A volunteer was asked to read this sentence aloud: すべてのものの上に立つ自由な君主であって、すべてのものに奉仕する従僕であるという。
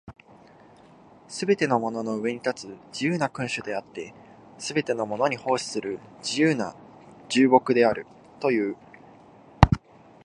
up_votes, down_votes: 0, 2